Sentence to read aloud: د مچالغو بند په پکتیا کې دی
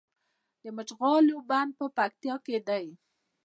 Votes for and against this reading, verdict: 2, 0, accepted